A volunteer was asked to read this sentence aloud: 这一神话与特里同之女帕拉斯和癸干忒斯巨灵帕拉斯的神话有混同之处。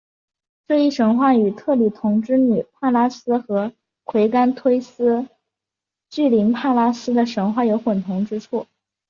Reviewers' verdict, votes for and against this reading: accepted, 4, 0